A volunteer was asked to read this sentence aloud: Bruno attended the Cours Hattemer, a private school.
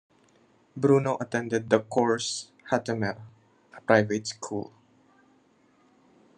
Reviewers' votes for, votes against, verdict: 2, 0, accepted